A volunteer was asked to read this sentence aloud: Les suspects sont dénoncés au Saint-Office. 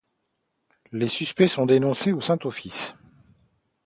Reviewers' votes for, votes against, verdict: 2, 0, accepted